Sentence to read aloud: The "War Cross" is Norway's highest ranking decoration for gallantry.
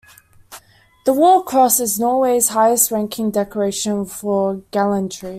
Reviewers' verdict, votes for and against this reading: accepted, 2, 0